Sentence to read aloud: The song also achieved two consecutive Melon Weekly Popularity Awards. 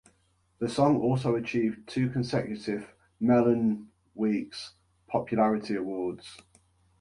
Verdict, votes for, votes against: rejected, 1, 2